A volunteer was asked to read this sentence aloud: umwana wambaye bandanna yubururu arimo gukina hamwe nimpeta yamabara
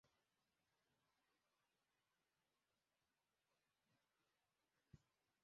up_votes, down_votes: 0, 2